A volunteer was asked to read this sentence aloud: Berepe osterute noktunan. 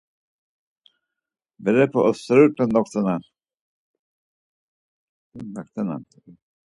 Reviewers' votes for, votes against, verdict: 2, 4, rejected